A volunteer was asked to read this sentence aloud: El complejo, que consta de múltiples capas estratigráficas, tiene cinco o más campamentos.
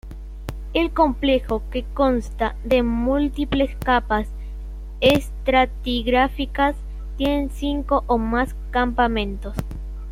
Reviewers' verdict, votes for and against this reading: rejected, 1, 2